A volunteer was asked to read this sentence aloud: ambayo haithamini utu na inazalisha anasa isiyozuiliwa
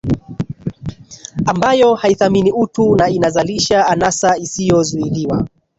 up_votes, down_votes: 3, 4